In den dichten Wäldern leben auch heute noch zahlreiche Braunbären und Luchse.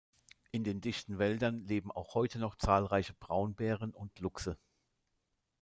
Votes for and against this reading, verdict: 0, 2, rejected